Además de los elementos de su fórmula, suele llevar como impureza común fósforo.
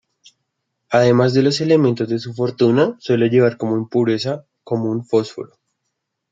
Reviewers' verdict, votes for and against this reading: rejected, 0, 2